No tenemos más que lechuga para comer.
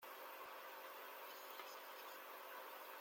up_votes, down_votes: 0, 2